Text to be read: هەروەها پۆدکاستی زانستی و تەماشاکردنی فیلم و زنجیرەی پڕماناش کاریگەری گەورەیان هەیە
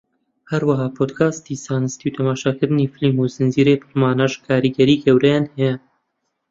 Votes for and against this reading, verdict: 0, 2, rejected